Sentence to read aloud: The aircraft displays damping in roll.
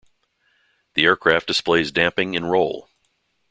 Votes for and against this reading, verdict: 2, 0, accepted